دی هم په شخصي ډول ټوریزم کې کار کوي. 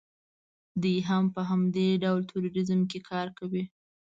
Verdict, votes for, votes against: rejected, 0, 2